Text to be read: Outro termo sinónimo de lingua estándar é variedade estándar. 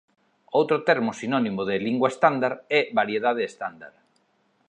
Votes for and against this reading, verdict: 4, 0, accepted